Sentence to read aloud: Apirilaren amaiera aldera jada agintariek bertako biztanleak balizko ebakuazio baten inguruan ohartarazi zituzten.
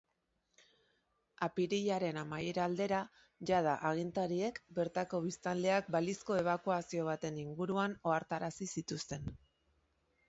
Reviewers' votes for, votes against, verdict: 2, 0, accepted